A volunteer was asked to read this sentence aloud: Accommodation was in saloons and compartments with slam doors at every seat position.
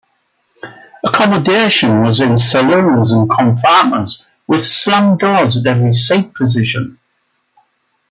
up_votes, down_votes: 0, 2